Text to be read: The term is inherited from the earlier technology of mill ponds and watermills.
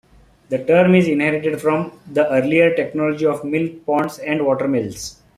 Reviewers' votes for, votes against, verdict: 3, 1, accepted